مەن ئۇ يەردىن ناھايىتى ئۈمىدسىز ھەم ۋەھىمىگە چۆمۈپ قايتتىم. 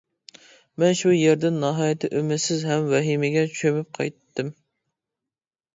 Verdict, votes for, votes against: rejected, 0, 2